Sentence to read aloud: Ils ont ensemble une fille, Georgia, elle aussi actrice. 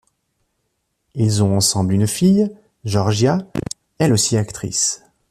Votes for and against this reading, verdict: 2, 0, accepted